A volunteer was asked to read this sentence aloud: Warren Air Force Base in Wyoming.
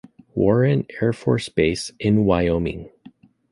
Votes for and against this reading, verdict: 0, 2, rejected